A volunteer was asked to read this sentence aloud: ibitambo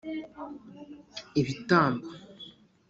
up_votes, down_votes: 4, 0